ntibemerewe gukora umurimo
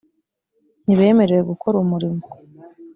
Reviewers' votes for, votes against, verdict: 2, 0, accepted